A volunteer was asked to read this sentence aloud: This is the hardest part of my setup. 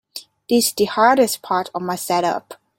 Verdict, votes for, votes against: rejected, 0, 2